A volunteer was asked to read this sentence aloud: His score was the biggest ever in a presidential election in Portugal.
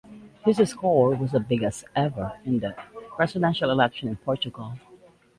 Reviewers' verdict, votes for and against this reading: accepted, 2, 1